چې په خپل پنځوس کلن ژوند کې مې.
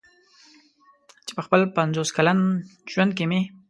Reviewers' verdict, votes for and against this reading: accepted, 2, 0